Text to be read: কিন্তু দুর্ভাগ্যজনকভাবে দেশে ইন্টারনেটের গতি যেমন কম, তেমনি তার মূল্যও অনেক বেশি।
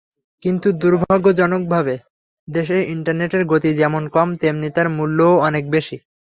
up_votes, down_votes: 3, 0